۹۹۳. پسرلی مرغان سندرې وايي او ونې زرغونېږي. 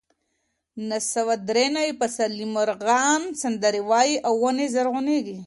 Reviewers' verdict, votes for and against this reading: rejected, 0, 2